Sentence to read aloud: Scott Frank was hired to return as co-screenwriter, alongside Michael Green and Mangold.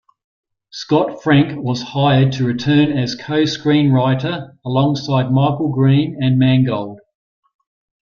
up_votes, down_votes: 2, 0